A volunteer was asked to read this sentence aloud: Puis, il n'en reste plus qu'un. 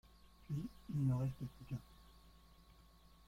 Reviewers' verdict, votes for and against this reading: rejected, 0, 2